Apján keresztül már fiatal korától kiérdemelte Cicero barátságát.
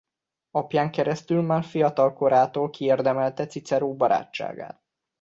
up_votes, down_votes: 2, 0